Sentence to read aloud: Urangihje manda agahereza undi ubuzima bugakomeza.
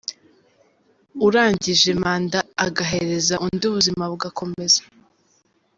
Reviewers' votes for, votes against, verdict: 4, 0, accepted